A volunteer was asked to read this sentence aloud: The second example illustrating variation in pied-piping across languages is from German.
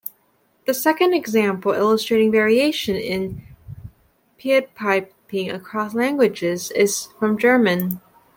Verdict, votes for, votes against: rejected, 0, 2